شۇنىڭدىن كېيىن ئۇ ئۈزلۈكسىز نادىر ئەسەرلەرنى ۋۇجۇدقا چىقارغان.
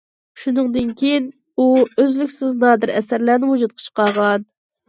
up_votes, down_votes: 2, 0